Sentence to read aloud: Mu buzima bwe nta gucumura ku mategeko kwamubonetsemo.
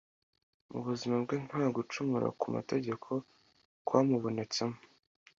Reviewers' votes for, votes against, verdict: 2, 0, accepted